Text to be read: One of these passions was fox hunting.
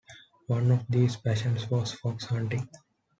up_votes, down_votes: 2, 0